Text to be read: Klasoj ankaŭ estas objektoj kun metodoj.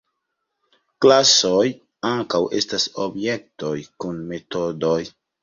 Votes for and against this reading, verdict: 2, 0, accepted